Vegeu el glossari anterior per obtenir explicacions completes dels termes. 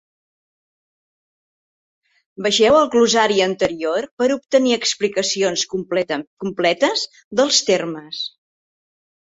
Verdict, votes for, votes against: accepted, 2, 1